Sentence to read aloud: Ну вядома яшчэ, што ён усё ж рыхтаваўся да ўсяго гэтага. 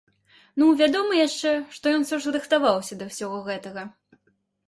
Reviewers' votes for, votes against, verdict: 2, 0, accepted